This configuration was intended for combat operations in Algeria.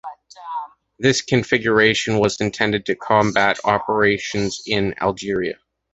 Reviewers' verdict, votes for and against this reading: rejected, 0, 2